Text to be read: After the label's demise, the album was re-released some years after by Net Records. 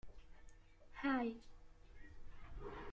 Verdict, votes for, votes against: rejected, 0, 2